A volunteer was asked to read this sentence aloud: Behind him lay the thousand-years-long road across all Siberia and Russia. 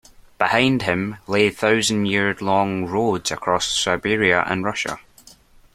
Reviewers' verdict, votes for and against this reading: rejected, 1, 2